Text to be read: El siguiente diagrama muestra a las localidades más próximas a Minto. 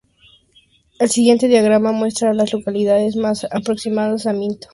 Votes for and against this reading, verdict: 0, 4, rejected